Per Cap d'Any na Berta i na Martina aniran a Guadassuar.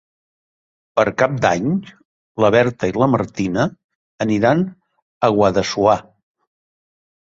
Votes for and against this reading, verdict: 0, 2, rejected